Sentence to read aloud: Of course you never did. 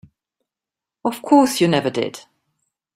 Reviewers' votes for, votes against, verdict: 2, 0, accepted